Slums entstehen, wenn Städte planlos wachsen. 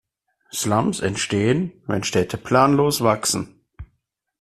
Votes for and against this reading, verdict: 2, 0, accepted